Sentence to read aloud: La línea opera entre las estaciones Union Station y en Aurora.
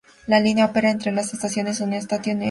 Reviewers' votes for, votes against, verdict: 0, 2, rejected